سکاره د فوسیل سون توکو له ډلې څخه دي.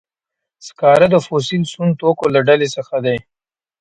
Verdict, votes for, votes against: rejected, 0, 2